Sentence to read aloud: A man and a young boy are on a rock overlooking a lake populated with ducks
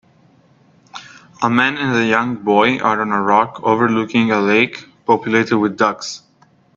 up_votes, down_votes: 3, 1